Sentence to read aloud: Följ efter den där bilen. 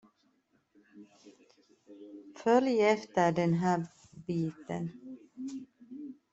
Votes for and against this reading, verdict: 0, 2, rejected